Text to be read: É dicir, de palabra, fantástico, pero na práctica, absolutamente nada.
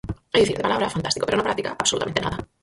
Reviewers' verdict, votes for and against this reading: rejected, 2, 4